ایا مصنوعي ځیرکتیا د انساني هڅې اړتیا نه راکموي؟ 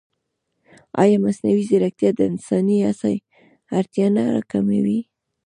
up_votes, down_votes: 1, 2